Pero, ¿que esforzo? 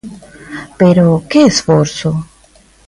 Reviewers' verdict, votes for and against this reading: accepted, 2, 0